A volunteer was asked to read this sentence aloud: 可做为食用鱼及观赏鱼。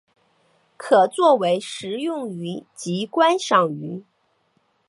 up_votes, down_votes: 2, 0